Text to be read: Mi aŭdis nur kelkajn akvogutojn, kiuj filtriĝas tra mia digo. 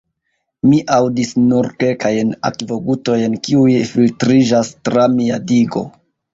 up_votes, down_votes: 2, 1